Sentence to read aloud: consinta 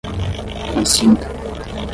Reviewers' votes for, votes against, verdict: 0, 5, rejected